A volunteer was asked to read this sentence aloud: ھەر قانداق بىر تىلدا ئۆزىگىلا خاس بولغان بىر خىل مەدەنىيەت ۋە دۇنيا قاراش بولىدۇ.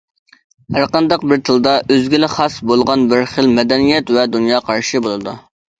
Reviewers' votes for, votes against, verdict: 0, 2, rejected